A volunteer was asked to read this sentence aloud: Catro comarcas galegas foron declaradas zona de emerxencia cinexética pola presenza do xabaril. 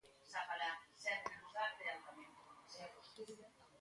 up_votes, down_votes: 0, 3